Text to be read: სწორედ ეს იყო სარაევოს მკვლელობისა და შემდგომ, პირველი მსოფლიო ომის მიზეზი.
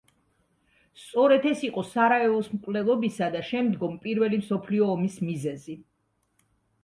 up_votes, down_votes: 2, 0